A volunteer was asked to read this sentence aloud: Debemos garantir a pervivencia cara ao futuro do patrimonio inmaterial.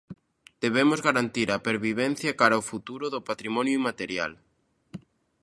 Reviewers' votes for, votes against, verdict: 2, 0, accepted